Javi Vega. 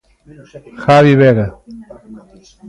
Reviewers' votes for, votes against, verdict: 0, 2, rejected